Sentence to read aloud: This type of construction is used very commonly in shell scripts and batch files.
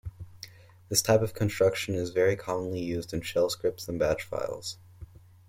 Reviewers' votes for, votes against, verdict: 1, 2, rejected